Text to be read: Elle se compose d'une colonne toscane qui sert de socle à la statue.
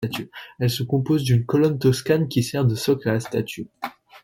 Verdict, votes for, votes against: accepted, 2, 0